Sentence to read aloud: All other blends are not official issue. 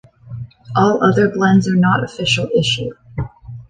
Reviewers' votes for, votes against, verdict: 2, 0, accepted